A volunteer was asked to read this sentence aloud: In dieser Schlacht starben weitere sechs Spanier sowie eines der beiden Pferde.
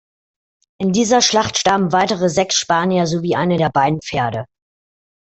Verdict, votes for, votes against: rejected, 0, 2